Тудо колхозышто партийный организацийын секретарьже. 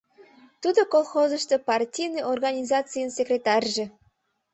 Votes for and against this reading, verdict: 2, 0, accepted